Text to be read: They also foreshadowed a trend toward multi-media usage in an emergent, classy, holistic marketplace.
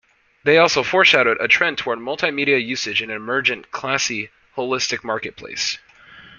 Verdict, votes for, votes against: accepted, 2, 0